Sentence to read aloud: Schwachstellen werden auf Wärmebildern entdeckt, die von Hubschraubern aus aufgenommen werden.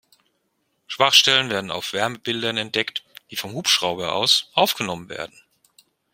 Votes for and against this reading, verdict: 1, 3, rejected